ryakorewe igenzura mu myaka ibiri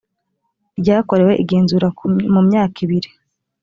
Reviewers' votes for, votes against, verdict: 0, 2, rejected